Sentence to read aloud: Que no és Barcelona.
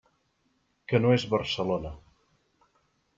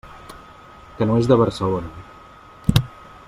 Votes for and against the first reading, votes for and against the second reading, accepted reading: 3, 0, 0, 2, first